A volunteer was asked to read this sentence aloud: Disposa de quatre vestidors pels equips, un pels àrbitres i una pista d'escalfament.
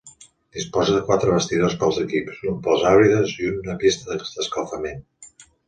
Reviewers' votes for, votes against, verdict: 0, 2, rejected